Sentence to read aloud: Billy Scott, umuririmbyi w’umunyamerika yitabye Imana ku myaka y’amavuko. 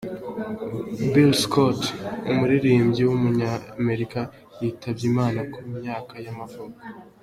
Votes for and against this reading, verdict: 3, 0, accepted